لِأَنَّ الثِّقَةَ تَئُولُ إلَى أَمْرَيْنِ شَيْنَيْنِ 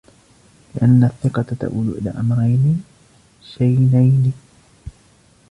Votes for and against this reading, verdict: 0, 2, rejected